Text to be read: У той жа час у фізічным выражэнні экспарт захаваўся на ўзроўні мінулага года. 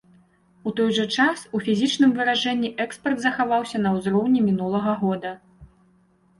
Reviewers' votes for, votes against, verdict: 2, 0, accepted